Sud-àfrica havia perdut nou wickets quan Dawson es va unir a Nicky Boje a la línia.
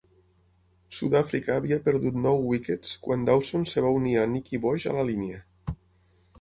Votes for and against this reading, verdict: 3, 6, rejected